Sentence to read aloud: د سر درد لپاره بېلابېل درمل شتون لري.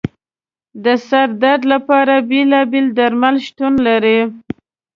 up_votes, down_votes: 2, 0